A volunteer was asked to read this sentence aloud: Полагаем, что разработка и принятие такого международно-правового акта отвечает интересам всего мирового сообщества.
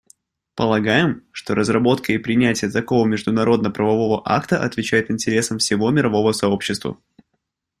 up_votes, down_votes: 2, 0